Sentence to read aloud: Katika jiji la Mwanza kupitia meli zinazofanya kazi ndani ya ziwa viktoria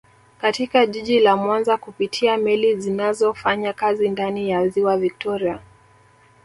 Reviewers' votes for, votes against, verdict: 3, 1, accepted